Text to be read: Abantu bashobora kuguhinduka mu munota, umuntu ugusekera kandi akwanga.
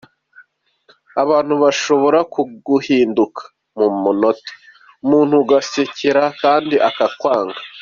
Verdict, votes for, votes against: accepted, 3, 2